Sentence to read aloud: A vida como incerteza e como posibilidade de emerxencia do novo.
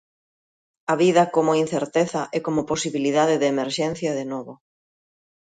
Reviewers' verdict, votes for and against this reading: rejected, 0, 2